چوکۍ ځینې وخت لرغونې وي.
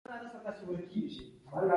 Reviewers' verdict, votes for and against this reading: rejected, 1, 2